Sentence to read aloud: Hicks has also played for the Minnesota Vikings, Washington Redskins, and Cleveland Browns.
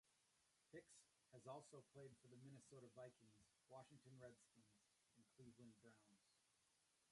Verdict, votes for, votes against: rejected, 0, 2